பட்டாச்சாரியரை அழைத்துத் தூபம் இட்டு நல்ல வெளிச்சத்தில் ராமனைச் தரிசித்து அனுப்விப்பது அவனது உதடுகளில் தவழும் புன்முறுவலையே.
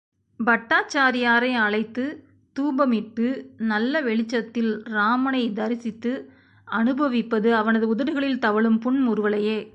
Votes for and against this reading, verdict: 2, 1, accepted